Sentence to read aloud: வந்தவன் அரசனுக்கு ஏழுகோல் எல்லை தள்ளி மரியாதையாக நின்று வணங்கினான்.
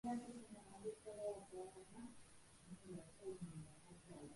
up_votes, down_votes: 0, 2